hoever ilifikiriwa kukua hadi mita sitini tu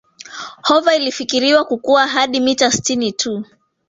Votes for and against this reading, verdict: 1, 2, rejected